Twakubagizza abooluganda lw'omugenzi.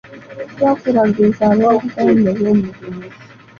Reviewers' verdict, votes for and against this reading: rejected, 0, 2